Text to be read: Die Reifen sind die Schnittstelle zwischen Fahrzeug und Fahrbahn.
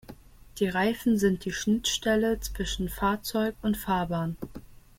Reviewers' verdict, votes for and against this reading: accepted, 2, 0